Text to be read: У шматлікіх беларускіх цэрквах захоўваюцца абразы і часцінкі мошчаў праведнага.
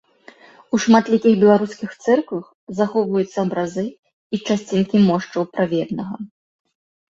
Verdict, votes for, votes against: rejected, 1, 2